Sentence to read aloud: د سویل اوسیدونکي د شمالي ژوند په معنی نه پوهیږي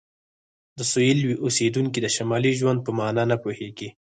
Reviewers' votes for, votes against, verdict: 2, 4, rejected